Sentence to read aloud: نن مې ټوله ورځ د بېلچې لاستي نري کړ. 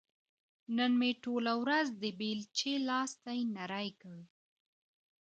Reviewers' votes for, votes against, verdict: 2, 1, accepted